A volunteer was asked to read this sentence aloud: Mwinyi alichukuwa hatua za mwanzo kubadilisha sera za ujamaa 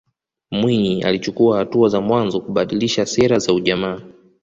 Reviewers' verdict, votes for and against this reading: rejected, 1, 2